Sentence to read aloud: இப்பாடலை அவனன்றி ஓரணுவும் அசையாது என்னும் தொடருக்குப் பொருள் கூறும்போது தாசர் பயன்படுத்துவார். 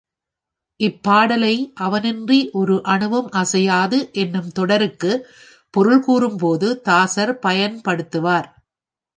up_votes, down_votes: 2, 0